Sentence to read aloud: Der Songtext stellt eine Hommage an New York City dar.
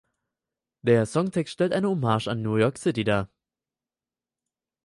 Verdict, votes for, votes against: accepted, 4, 0